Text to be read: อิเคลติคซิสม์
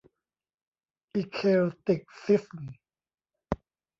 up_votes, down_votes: 0, 2